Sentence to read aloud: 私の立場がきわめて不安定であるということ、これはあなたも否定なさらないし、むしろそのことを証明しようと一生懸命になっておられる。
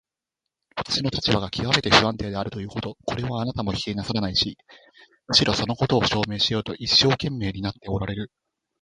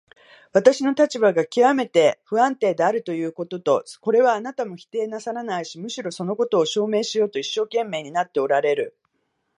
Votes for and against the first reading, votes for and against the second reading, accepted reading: 2, 1, 1, 2, first